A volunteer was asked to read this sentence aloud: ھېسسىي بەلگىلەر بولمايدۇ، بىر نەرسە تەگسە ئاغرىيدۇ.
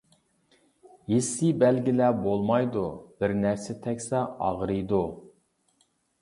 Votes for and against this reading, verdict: 2, 0, accepted